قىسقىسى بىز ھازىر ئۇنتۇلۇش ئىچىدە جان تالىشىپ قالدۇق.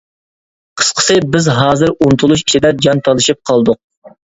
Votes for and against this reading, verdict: 2, 0, accepted